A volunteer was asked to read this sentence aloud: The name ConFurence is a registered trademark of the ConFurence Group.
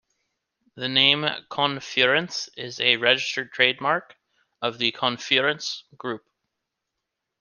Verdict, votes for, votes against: accepted, 2, 0